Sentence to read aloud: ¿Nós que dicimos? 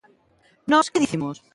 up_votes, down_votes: 0, 2